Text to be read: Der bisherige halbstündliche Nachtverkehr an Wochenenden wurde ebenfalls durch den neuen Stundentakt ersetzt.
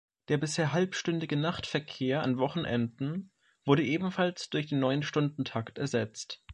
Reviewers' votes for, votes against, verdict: 0, 2, rejected